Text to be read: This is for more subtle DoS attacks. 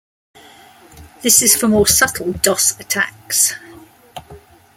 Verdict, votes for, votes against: accepted, 2, 0